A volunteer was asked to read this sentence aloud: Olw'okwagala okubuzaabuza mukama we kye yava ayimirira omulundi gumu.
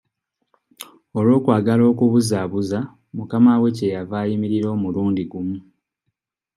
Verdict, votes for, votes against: accepted, 2, 1